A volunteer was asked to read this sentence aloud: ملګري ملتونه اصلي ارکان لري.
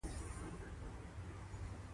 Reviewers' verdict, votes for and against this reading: accepted, 2, 0